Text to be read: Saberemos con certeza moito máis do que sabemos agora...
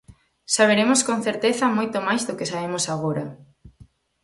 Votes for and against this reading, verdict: 4, 0, accepted